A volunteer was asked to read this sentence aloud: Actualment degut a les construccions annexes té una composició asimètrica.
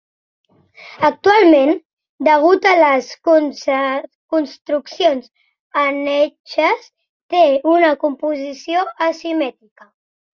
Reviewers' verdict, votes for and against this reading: rejected, 0, 2